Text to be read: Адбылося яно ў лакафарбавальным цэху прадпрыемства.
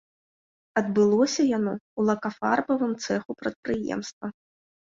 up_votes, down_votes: 0, 2